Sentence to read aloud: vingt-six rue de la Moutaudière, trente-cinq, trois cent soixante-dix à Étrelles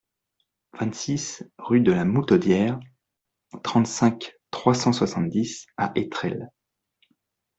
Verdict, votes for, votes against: accepted, 2, 0